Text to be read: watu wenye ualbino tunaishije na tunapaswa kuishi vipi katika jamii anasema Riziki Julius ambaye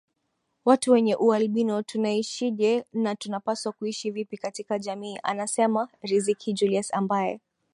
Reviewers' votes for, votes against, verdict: 5, 0, accepted